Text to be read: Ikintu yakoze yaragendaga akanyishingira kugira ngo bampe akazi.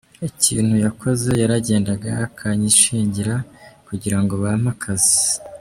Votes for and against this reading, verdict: 2, 1, accepted